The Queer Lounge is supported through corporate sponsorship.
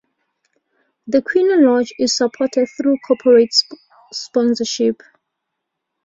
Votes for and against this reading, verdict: 0, 2, rejected